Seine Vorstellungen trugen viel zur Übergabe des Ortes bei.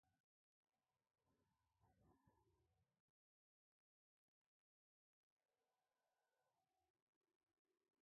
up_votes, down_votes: 0, 2